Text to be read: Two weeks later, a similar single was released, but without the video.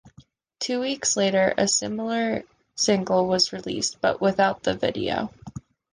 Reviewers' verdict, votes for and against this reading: accepted, 2, 1